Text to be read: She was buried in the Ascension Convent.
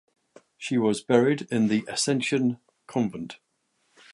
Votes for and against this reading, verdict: 1, 2, rejected